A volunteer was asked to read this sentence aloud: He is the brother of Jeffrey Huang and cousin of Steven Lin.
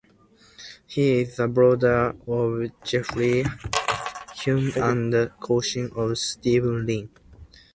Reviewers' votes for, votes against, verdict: 2, 0, accepted